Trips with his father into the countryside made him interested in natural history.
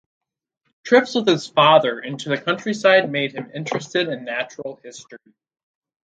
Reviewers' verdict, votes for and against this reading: accepted, 4, 0